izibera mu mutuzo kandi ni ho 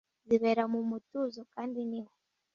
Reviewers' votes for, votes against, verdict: 0, 2, rejected